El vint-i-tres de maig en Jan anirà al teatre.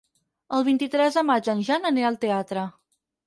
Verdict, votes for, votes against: accepted, 6, 0